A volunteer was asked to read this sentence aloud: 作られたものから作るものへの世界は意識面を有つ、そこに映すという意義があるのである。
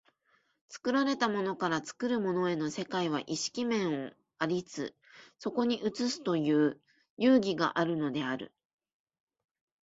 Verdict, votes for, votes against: rejected, 0, 2